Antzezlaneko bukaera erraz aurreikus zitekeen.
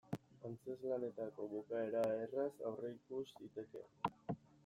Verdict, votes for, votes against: rejected, 1, 2